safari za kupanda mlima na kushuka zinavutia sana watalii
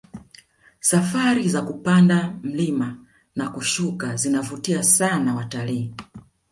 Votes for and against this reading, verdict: 2, 0, accepted